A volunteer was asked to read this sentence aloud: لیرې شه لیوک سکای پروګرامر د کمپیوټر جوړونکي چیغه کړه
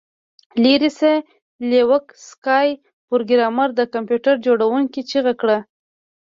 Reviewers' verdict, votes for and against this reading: accepted, 2, 0